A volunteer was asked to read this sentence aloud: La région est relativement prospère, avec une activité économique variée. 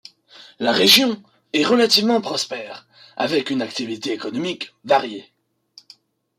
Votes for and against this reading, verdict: 1, 2, rejected